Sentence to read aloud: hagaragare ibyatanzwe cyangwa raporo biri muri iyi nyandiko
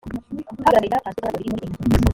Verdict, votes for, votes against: rejected, 0, 3